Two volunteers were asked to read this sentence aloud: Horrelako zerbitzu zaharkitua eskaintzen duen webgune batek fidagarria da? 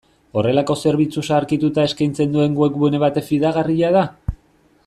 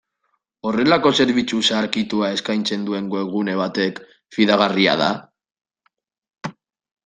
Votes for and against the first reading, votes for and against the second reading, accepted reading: 1, 2, 2, 0, second